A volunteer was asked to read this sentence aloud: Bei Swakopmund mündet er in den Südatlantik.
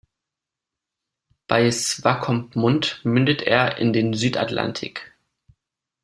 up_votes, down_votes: 2, 0